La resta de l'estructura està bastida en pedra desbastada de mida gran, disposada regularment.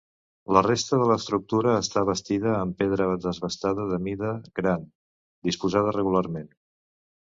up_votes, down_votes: 0, 2